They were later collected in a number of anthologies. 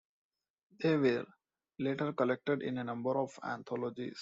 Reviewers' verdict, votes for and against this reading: accepted, 2, 0